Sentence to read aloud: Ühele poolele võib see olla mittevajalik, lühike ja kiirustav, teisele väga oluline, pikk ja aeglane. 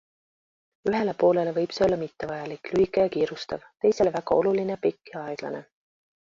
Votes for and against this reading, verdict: 2, 0, accepted